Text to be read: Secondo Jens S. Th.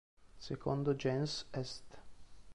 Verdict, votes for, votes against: accepted, 2, 1